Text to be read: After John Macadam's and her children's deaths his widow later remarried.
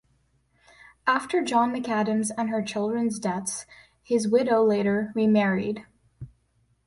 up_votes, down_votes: 2, 1